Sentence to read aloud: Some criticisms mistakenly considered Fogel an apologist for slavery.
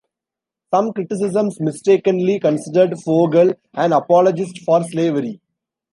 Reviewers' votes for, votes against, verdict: 2, 1, accepted